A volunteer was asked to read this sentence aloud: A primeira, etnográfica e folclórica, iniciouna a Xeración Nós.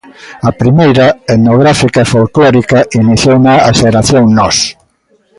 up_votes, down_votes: 0, 2